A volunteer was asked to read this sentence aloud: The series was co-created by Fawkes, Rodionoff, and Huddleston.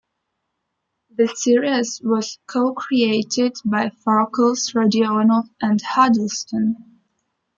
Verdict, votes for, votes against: rejected, 0, 2